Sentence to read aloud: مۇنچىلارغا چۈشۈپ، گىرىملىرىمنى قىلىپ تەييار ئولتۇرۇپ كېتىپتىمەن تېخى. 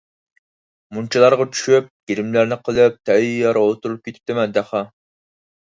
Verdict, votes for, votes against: rejected, 2, 4